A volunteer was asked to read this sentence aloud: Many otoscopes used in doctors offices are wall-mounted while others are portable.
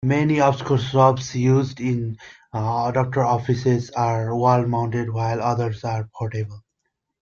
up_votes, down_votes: 0, 2